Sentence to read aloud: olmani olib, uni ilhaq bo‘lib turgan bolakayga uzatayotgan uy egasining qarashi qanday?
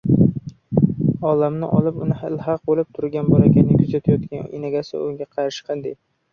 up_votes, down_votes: 0, 2